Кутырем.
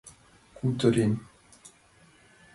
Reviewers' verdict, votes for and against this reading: rejected, 0, 2